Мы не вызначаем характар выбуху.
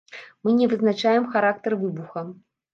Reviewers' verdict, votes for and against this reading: rejected, 1, 2